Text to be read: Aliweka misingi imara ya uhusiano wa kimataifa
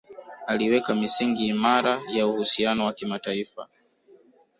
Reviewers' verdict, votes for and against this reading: rejected, 0, 2